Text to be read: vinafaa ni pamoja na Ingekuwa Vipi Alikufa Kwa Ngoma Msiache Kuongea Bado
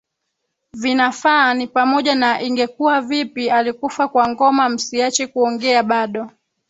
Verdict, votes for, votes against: rejected, 2, 3